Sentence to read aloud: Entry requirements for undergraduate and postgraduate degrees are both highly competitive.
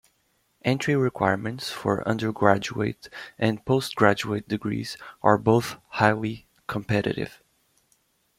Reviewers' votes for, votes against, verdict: 2, 0, accepted